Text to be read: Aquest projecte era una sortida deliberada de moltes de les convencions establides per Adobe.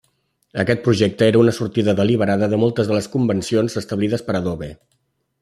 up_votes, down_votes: 3, 0